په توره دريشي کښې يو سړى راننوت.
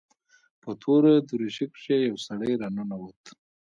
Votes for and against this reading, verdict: 2, 1, accepted